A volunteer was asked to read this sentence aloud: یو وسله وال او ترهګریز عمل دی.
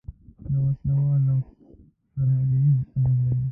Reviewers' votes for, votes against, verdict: 0, 2, rejected